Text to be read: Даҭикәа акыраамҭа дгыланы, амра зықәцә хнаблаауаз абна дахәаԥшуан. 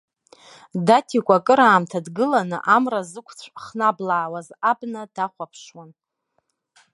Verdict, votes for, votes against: accepted, 2, 0